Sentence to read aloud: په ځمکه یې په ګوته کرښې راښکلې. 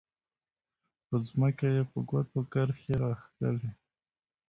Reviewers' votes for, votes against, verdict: 1, 2, rejected